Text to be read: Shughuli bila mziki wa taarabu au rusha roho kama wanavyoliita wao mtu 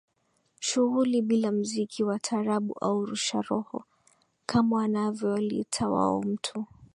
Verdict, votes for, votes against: accepted, 2, 0